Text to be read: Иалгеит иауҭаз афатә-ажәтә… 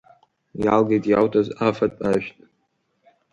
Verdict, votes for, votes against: accepted, 2, 0